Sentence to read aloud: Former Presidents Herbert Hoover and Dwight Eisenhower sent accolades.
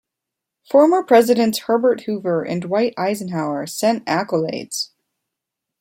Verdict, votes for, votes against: accepted, 2, 0